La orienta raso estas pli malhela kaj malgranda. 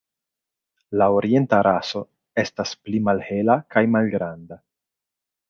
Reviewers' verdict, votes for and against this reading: accepted, 2, 1